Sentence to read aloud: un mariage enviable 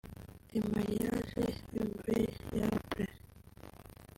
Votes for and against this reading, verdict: 1, 2, rejected